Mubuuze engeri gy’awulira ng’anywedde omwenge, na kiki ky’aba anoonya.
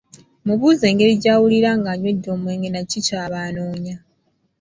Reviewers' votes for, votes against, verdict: 1, 2, rejected